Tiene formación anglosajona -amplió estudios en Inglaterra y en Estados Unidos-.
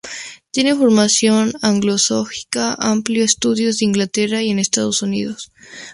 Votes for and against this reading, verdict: 0, 2, rejected